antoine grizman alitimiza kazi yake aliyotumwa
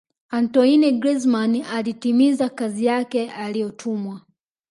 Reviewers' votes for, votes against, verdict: 0, 2, rejected